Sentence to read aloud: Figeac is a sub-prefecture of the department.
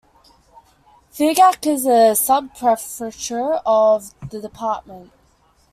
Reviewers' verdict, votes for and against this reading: rejected, 0, 2